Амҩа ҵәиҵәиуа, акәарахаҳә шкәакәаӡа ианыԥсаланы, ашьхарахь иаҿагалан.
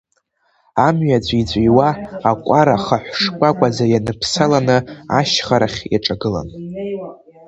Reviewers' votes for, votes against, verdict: 2, 0, accepted